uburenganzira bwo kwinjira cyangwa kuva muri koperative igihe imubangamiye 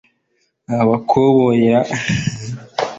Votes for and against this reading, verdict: 0, 2, rejected